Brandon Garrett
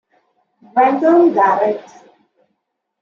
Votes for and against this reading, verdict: 1, 2, rejected